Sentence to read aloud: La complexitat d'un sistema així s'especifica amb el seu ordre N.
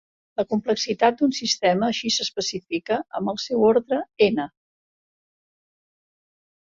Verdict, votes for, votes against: accepted, 3, 0